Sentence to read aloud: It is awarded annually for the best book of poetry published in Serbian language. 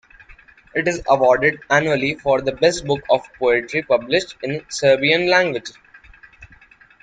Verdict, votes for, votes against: accepted, 2, 1